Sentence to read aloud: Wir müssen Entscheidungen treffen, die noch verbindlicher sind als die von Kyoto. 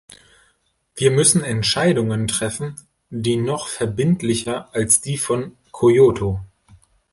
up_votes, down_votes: 0, 2